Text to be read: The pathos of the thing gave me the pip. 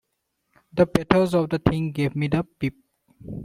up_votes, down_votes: 1, 2